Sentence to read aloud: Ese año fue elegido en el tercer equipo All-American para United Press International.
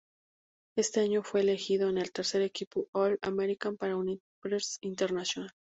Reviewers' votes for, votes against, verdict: 0, 2, rejected